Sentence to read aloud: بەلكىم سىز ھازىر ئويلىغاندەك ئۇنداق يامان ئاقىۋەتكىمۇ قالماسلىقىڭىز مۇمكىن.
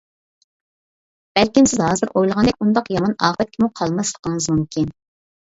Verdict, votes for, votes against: accepted, 2, 0